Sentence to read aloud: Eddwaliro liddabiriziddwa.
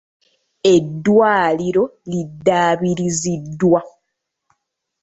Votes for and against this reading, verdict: 2, 0, accepted